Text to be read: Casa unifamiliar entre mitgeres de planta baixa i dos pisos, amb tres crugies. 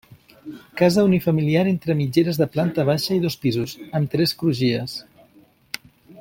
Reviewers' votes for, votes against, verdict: 3, 0, accepted